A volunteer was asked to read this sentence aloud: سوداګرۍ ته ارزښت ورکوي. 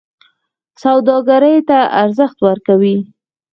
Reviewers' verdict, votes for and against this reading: rejected, 2, 4